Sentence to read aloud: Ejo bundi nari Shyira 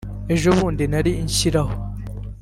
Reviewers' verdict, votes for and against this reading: rejected, 1, 2